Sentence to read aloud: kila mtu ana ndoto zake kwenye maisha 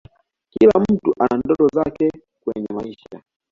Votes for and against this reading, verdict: 2, 0, accepted